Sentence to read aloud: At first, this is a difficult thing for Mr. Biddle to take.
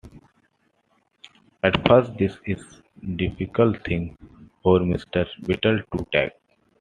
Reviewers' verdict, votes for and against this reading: rejected, 1, 2